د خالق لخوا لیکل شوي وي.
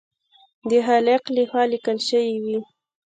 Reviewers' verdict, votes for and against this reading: rejected, 1, 2